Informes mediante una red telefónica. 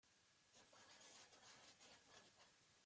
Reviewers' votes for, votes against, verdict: 0, 2, rejected